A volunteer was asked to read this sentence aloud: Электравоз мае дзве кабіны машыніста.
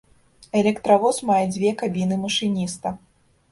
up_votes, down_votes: 2, 0